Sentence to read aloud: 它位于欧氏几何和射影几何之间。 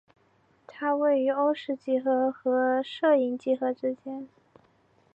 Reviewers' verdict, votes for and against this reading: accepted, 3, 0